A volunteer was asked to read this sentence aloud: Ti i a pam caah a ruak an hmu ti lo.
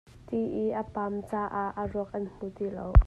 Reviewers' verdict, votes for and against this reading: accepted, 2, 0